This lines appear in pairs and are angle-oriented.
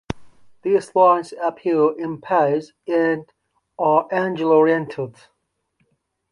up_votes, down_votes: 0, 2